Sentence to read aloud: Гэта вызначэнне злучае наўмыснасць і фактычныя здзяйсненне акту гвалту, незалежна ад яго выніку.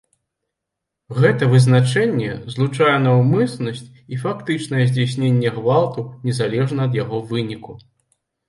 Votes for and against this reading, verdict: 1, 2, rejected